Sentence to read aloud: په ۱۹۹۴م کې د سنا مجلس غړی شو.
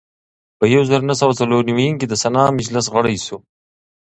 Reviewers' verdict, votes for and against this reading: rejected, 0, 2